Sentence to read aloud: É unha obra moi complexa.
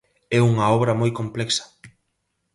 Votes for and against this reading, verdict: 2, 2, rejected